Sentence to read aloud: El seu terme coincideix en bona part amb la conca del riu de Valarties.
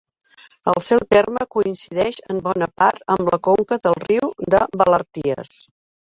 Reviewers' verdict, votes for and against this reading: accepted, 2, 1